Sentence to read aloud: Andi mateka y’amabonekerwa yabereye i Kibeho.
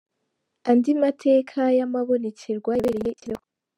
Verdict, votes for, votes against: rejected, 1, 2